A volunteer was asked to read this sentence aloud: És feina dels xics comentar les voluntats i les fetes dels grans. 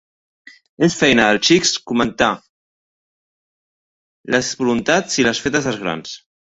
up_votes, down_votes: 0, 2